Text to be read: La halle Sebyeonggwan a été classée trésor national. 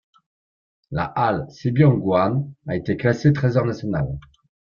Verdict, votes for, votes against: accepted, 2, 1